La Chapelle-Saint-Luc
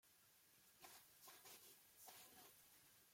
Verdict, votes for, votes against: rejected, 0, 2